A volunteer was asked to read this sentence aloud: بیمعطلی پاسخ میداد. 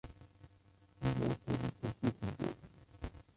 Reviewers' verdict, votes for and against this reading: rejected, 0, 2